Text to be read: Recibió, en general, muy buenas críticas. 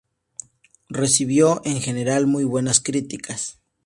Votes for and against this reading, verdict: 4, 0, accepted